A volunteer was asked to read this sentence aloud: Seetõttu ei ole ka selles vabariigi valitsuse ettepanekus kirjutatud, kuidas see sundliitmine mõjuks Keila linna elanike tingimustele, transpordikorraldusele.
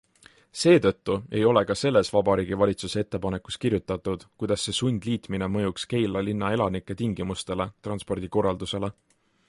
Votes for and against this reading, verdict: 3, 0, accepted